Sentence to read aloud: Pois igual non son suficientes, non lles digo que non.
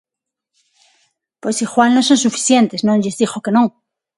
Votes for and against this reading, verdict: 6, 0, accepted